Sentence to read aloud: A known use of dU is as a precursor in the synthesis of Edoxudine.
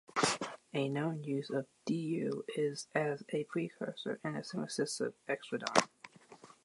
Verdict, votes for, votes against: rejected, 0, 2